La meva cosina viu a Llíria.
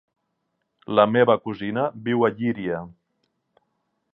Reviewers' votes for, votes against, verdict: 3, 0, accepted